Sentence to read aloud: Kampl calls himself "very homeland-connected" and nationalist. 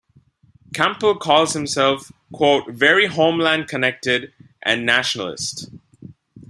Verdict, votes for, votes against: rejected, 1, 2